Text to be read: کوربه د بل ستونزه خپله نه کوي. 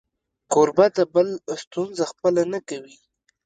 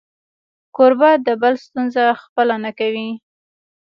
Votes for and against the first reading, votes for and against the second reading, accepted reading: 2, 0, 1, 2, first